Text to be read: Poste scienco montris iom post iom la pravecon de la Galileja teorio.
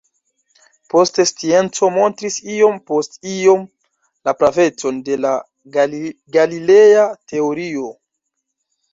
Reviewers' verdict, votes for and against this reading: rejected, 1, 2